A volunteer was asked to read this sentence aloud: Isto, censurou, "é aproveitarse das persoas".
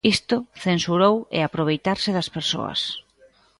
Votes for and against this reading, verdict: 2, 0, accepted